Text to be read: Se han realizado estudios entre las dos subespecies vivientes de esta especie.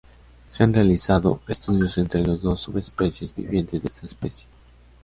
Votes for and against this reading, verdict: 2, 0, accepted